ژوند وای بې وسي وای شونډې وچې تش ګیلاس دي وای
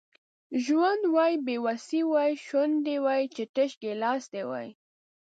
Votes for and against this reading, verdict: 0, 2, rejected